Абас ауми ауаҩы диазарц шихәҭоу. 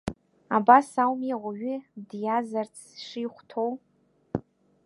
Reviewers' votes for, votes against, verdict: 2, 0, accepted